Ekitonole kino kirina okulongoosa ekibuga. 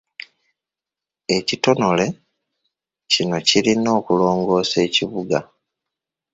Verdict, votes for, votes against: rejected, 1, 2